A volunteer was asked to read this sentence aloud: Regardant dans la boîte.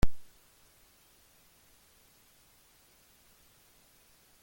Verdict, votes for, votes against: rejected, 0, 2